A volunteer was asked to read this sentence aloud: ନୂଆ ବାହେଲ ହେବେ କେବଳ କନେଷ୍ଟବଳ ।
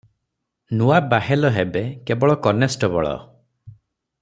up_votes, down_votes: 6, 0